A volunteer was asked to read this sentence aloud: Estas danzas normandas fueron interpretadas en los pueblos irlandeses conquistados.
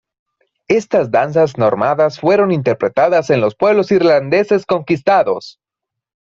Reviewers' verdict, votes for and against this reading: rejected, 1, 2